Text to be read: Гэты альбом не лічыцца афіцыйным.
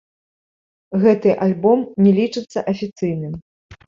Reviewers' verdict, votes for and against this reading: rejected, 0, 2